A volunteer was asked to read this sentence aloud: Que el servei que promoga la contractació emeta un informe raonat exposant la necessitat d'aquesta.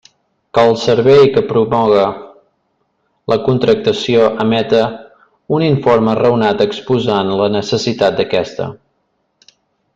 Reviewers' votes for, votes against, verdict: 2, 0, accepted